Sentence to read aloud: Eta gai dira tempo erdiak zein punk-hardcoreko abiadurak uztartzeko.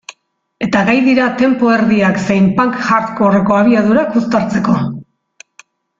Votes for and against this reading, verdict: 2, 0, accepted